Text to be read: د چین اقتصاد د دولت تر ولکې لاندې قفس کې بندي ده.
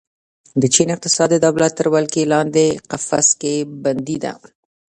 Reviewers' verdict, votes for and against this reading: accepted, 2, 1